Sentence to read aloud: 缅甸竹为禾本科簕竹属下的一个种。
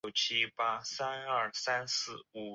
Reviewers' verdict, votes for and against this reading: rejected, 0, 8